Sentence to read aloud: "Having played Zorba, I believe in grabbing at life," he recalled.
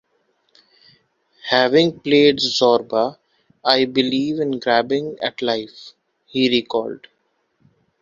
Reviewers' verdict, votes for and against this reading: rejected, 1, 2